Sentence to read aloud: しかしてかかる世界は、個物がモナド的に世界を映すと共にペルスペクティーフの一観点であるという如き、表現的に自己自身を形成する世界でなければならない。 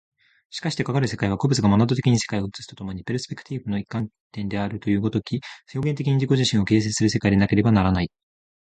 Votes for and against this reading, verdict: 0, 2, rejected